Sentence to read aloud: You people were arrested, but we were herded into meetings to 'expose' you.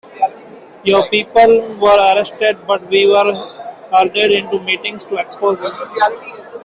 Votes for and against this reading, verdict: 0, 2, rejected